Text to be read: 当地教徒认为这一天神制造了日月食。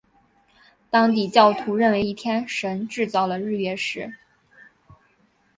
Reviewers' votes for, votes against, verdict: 0, 2, rejected